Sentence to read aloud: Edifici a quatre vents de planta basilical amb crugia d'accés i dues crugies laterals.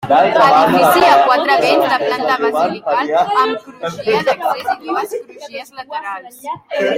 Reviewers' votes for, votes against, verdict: 0, 2, rejected